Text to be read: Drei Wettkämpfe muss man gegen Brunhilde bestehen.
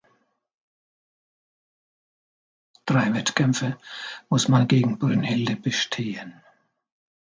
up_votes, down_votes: 2, 0